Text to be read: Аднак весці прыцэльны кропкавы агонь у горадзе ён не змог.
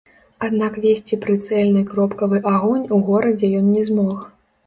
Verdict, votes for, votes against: rejected, 1, 2